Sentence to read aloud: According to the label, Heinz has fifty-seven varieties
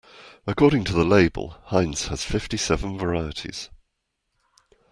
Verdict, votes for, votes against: accepted, 2, 0